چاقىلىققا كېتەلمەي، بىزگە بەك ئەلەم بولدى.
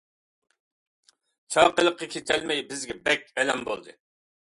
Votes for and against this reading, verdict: 2, 0, accepted